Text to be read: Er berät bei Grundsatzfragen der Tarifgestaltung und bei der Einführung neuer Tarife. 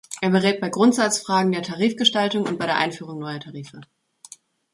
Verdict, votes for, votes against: accepted, 2, 0